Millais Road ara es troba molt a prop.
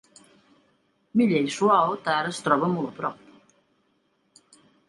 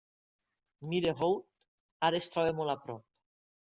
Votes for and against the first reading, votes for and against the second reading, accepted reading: 1, 2, 2, 0, second